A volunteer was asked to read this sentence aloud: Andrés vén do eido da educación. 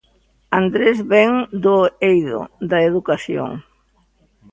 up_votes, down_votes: 2, 0